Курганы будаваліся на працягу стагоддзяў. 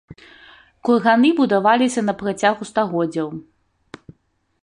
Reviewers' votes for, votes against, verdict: 1, 2, rejected